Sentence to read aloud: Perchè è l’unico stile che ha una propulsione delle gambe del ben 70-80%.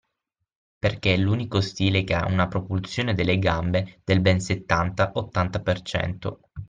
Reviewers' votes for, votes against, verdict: 0, 2, rejected